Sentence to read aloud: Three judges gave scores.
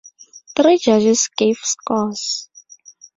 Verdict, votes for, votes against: rejected, 0, 2